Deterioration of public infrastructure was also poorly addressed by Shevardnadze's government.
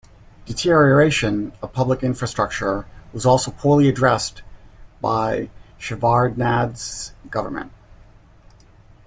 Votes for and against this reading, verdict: 1, 2, rejected